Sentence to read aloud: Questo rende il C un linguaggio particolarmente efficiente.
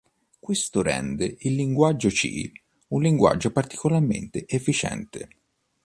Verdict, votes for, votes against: rejected, 1, 2